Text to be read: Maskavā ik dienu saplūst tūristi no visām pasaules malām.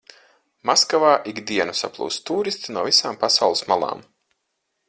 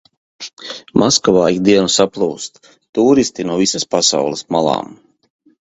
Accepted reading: first